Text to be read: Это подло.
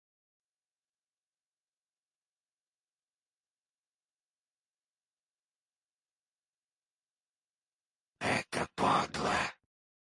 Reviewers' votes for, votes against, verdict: 2, 2, rejected